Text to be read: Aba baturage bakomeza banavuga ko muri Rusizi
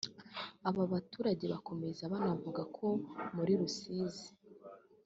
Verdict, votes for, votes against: accepted, 2, 0